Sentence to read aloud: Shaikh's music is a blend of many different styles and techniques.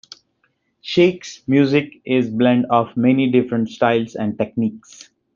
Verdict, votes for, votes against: rejected, 0, 2